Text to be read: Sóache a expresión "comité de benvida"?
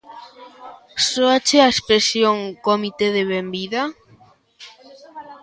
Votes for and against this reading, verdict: 1, 2, rejected